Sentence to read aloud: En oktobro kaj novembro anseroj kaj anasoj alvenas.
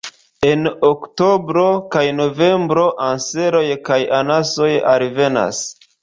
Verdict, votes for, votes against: rejected, 0, 2